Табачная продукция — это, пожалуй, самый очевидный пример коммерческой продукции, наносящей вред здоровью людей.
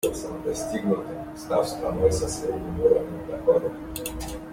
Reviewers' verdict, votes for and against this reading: rejected, 0, 2